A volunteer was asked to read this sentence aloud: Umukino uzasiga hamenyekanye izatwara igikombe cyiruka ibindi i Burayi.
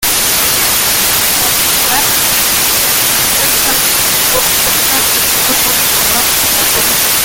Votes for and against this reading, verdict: 0, 2, rejected